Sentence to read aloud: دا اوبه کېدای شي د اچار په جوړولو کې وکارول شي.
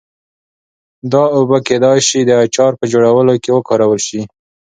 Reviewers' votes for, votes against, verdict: 2, 0, accepted